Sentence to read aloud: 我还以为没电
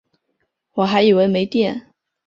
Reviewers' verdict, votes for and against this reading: accepted, 7, 0